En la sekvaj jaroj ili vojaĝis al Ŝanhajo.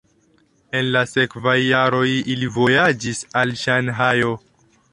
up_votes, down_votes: 1, 2